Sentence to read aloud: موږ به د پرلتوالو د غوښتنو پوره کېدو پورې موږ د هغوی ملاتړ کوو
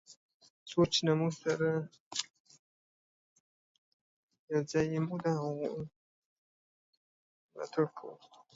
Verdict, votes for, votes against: rejected, 0, 2